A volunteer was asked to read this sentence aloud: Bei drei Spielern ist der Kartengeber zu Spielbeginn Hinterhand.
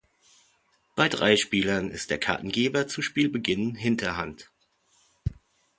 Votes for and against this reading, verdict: 2, 0, accepted